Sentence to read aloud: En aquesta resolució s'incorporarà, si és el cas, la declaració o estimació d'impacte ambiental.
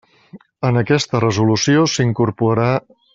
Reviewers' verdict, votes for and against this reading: rejected, 0, 2